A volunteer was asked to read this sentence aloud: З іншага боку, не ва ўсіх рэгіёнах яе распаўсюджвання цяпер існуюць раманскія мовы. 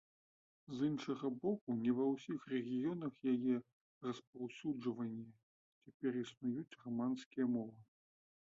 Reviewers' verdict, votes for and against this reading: rejected, 1, 2